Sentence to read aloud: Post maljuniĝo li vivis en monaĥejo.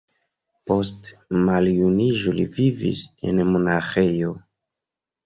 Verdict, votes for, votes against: accepted, 2, 1